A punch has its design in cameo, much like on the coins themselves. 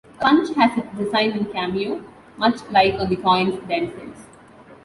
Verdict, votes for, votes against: accepted, 2, 0